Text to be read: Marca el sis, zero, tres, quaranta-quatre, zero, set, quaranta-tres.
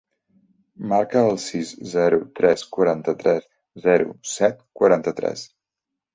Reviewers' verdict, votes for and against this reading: rejected, 1, 2